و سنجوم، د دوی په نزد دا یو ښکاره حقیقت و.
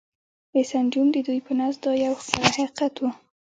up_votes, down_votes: 2, 1